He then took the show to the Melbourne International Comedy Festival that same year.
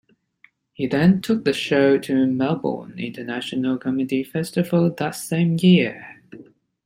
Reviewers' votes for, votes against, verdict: 1, 2, rejected